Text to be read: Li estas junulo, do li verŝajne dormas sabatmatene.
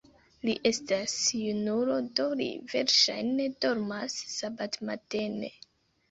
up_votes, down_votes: 2, 0